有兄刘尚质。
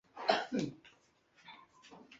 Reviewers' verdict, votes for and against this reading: rejected, 1, 3